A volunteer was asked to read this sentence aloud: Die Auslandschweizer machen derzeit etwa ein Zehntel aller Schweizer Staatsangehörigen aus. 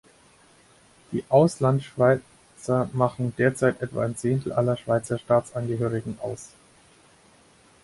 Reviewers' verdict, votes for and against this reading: rejected, 2, 4